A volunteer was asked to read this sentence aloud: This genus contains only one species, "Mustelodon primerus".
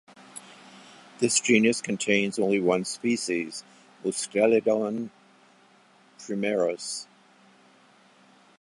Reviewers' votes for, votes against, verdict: 2, 0, accepted